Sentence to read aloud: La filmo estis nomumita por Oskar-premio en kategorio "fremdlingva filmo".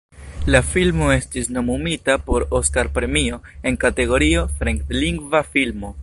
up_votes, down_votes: 2, 0